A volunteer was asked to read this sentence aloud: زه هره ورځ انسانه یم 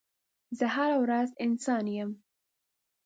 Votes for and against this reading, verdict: 2, 0, accepted